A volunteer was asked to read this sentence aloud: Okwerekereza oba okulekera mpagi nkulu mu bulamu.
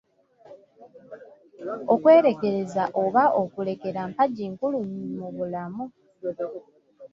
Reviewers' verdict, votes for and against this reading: rejected, 2, 3